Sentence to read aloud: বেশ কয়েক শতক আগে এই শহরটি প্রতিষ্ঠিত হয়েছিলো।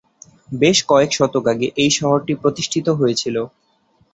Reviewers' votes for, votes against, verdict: 2, 0, accepted